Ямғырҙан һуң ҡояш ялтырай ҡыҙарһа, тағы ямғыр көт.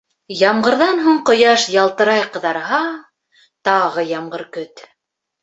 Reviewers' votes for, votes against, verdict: 2, 0, accepted